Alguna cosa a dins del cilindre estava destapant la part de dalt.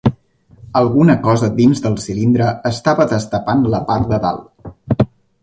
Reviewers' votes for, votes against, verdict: 2, 0, accepted